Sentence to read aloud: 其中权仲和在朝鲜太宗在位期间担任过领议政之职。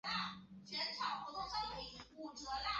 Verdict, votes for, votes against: rejected, 0, 2